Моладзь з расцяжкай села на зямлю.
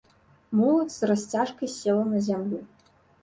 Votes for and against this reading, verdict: 2, 0, accepted